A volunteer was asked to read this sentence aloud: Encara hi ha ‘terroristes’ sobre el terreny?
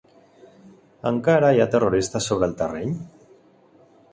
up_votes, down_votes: 2, 0